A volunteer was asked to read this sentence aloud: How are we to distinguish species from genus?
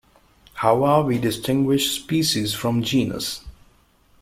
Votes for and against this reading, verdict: 0, 2, rejected